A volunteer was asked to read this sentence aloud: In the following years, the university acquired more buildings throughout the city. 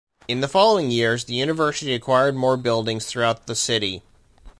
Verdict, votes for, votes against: accepted, 2, 0